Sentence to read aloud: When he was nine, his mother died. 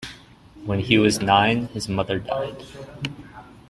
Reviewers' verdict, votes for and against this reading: accepted, 2, 0